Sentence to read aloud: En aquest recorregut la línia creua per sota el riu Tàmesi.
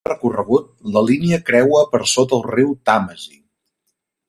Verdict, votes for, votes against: rejected, 0, 2